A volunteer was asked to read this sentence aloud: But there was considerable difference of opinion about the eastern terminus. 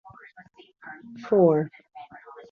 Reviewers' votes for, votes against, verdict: 0, 2, rejected